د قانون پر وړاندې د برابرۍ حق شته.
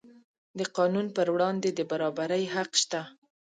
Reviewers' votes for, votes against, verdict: 2, 0, accepted